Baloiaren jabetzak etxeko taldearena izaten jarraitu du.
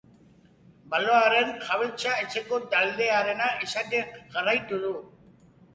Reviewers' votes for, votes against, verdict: 2, 0, accepted